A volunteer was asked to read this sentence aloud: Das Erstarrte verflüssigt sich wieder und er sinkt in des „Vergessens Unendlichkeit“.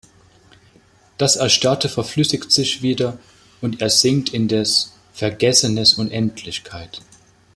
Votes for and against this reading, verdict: 0, 2, rejected